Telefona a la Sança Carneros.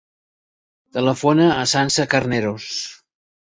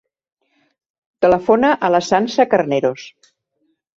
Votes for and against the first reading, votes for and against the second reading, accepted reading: 1, 2, 2, 0, second